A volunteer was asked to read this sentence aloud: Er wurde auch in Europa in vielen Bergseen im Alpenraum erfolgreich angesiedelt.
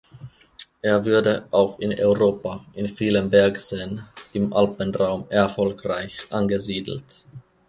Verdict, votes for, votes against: rejected, 0, 2